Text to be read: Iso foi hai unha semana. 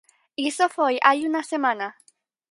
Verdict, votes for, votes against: accepted, 4, 2